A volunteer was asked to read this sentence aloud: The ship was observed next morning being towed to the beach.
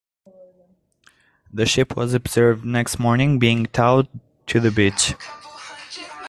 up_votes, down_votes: 2, 0